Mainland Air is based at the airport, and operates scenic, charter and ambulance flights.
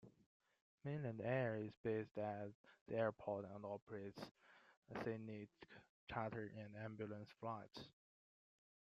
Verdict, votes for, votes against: rejected, 1, 2